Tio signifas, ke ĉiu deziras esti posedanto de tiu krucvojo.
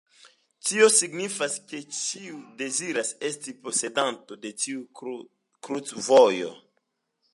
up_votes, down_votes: 2, 0